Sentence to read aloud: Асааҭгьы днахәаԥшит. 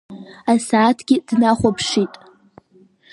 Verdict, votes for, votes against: accepted, 3, 0